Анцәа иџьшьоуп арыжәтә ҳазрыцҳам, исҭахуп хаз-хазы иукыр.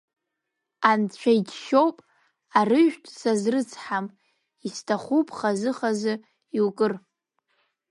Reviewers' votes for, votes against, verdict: 1, 2, rejected